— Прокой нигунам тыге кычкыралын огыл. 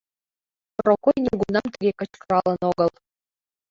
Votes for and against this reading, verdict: 0, 2, rejected